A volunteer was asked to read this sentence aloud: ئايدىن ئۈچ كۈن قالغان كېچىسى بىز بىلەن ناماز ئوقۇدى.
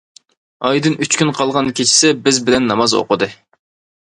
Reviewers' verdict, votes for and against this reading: accepted, 2, 0